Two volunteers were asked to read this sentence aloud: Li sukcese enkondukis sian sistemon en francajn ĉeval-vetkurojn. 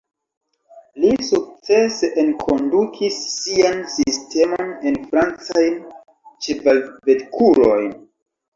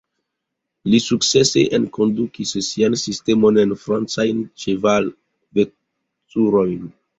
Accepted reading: second